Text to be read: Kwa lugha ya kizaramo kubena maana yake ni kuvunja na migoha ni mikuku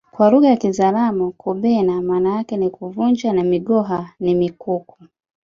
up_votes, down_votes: 3, 2